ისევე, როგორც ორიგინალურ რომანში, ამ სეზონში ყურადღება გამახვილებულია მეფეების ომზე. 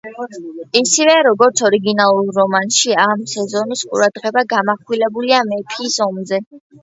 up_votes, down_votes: 1, 2